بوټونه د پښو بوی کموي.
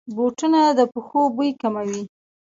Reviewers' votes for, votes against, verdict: 1, 2, rejected